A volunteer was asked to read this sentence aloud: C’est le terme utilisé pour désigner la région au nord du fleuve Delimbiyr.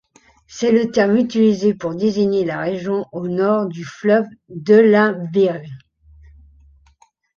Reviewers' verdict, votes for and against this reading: accepted, 2, 0